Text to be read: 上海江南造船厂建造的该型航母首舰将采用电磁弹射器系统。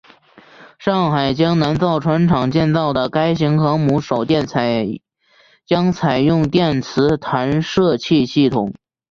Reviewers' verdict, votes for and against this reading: accepted, 3, 0